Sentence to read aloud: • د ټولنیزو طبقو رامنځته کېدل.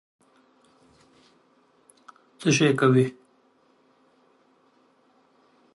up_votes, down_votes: 0, 2